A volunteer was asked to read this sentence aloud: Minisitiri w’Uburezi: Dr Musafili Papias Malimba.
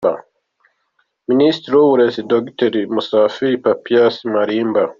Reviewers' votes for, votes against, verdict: 2, 1, accepted